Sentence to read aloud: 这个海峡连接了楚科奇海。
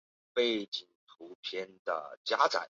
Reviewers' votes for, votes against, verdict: 0, 2, rejected